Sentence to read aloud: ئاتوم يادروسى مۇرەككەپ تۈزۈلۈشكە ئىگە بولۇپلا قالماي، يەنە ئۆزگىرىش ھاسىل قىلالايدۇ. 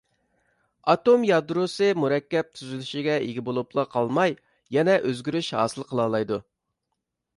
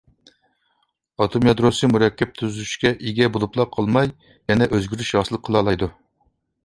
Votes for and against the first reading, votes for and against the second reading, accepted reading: 0, 2, 3, 0, second